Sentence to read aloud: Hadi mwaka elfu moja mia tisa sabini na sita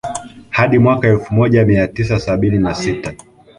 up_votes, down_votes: 2, 1